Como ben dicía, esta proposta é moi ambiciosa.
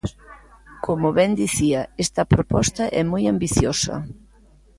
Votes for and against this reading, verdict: 2, 0, accepted